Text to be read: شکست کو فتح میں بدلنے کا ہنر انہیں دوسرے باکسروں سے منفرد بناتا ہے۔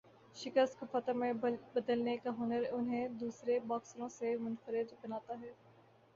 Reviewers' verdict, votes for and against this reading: accepted, 3, 1